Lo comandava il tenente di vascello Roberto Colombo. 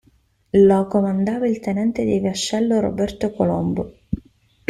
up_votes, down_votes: 0, 2